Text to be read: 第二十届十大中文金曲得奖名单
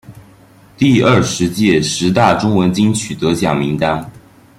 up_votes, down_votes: 2, 0